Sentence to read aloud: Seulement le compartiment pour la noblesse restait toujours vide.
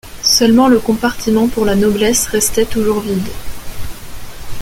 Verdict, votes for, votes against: accepted, 2, 1